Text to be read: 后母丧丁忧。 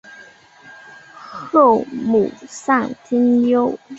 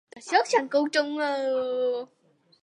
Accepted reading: first